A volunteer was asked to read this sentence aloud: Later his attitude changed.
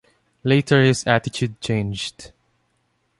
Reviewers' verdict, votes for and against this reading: accepted, 2, 0